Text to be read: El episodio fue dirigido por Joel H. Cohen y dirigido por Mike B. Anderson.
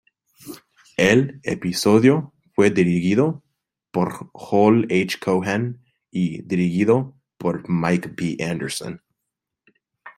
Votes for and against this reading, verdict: 2, 0, accepted